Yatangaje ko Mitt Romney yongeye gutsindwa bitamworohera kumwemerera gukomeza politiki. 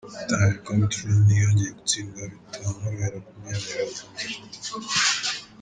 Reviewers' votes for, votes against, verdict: 0, 2, rejected